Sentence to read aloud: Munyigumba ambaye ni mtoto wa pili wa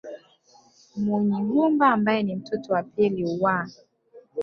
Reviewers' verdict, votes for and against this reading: rejected, 1, 2